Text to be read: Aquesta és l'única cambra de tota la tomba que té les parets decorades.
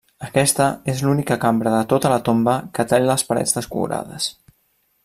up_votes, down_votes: 1, 2